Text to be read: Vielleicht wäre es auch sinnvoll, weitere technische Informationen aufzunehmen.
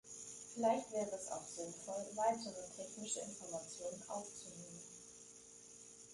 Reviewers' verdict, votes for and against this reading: rejected, 2, 3